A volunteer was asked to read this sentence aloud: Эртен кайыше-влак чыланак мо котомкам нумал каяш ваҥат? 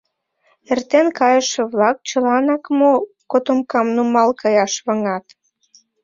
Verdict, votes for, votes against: accepted, 2, 0